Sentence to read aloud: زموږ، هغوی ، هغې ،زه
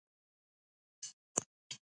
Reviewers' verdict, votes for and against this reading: rejected, 0, 2